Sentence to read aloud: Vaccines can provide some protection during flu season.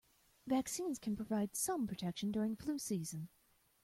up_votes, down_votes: 2, 1